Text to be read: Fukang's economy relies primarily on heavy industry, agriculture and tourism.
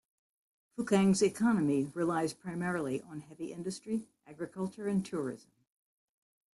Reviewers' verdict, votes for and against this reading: accepted, 2, 1